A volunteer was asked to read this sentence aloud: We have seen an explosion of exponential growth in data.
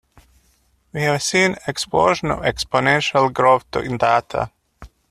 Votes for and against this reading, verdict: 0, 2, rejected